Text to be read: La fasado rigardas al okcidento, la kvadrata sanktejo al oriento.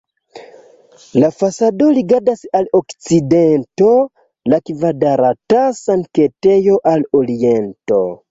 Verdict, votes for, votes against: rejected, 1, 2